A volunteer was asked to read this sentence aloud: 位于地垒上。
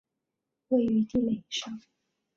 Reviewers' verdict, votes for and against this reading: accepted, 2, 0